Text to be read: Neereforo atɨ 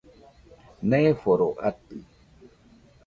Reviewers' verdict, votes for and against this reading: rejected, 1, 2